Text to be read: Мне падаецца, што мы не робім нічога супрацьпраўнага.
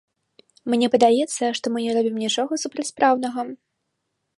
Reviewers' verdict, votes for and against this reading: rejected, 1, 2